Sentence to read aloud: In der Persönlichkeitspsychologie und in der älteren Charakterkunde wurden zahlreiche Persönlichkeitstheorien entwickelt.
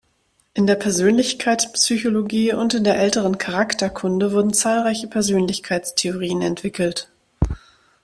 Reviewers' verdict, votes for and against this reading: accepted, 2, 0